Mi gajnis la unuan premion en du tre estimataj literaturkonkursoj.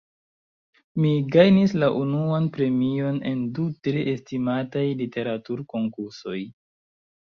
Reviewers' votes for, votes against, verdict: 3, 1, accepted